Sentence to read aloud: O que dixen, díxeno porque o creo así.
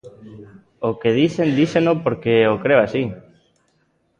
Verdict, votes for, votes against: rejected, 0, 2